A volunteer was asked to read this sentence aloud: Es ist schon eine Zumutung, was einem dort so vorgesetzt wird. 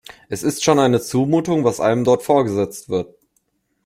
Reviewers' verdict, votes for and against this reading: rejected, 0, 2